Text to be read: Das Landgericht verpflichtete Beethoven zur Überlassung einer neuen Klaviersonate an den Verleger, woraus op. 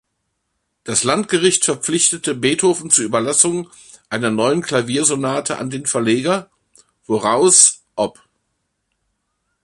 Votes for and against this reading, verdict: 1, 2, rejected